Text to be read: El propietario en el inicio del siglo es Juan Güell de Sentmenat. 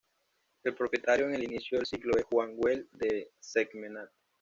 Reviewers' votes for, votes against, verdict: 0, 2, rejected